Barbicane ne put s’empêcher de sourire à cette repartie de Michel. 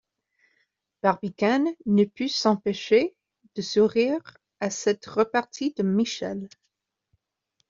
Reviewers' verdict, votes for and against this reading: rejected, 1, 2